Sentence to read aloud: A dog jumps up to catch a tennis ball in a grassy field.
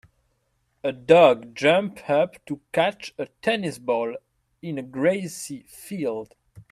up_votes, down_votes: 0, 2